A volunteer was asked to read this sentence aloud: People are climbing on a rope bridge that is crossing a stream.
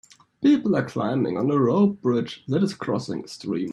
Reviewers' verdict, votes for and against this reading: rejected, 1, 2